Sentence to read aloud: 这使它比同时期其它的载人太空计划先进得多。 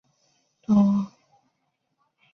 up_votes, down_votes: 1, 9